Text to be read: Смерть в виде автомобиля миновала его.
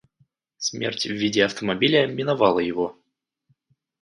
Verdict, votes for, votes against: accepted, 2, 0